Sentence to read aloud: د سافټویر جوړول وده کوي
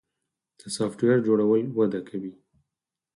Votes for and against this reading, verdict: 2, 4, rejected